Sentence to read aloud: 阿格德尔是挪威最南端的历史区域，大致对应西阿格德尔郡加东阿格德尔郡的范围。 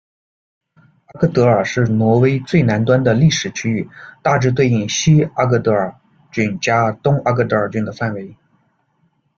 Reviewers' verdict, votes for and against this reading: rejected, 0, 2